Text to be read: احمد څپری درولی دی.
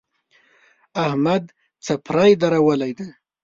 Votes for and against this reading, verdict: 0, 2, rejected